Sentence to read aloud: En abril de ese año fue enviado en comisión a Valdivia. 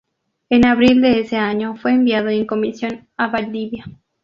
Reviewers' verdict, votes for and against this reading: accepted, 2, 0